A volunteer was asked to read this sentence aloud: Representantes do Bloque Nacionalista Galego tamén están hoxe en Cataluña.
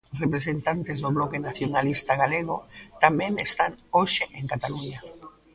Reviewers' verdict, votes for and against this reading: accepted, 2, 0